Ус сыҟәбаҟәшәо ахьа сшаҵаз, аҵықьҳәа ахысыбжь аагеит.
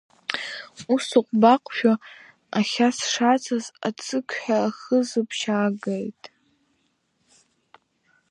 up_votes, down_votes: 1, 2